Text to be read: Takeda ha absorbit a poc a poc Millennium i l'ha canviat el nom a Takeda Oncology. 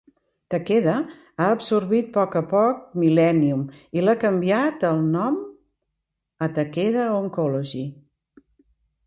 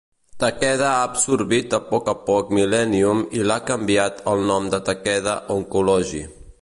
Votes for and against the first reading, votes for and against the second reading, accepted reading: 2, 0, 1, 3, first